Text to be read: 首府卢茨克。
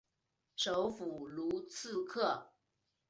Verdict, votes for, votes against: accepted, 4, 1